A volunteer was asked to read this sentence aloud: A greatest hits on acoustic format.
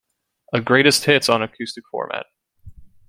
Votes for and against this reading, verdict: 2, 0, accepted